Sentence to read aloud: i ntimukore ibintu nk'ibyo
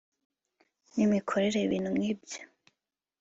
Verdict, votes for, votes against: accepted, 2, 0